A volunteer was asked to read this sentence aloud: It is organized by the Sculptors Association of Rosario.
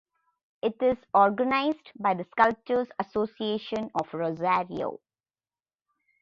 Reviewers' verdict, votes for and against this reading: accepted, 2, 0